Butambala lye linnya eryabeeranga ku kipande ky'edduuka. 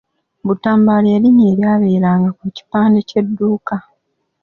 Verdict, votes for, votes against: accepted, 2, 0